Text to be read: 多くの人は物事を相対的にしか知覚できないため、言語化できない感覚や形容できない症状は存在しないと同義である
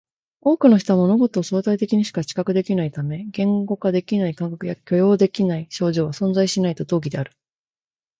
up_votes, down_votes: 1, 2